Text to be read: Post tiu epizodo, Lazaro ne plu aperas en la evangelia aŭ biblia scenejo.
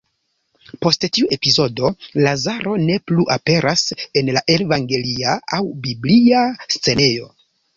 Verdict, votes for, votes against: rejected, 0, 2